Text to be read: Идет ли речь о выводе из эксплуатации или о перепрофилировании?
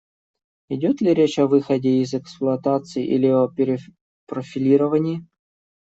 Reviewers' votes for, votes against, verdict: 0, 2, rejected